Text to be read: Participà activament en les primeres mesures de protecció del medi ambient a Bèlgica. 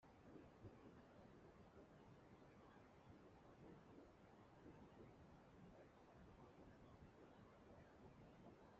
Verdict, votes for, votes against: rejected, 0, 2